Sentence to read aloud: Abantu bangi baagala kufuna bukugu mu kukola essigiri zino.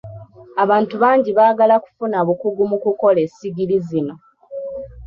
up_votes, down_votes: 2, 0